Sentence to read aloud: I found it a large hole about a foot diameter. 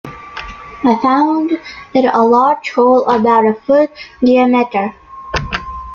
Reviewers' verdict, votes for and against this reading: rejected, 0, 2